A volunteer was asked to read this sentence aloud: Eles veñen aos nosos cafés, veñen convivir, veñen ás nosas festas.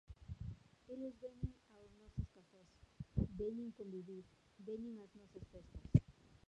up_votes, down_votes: 0, 2